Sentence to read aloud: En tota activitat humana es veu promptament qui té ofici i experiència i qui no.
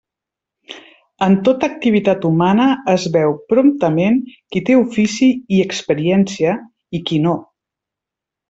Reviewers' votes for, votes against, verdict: 3, 0, accepted